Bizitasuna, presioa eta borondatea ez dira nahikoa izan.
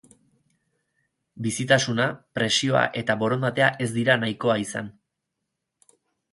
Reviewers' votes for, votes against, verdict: 2, 2, rejected